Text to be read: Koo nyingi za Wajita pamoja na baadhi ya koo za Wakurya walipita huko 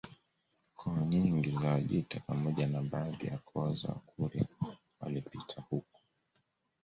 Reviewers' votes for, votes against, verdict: 2, 1, accepted